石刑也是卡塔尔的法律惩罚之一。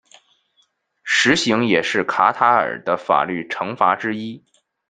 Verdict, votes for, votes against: accepted, 2, 0